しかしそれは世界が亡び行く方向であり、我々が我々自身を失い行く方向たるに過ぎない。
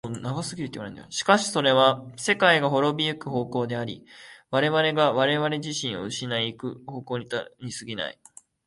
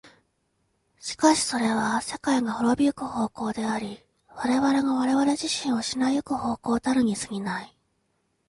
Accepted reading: second